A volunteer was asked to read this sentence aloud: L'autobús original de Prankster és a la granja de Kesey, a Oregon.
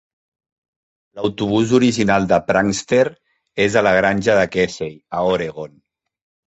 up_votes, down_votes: 2, 0